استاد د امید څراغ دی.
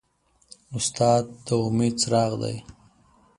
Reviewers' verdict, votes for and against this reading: accepted, 2, 0